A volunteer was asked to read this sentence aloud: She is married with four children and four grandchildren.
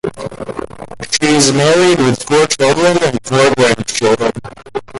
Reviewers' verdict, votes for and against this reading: rejected, 0, 2